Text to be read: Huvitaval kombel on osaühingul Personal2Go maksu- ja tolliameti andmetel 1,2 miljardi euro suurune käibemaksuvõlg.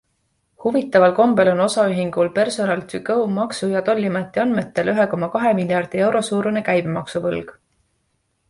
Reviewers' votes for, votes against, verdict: 0, 2, rejected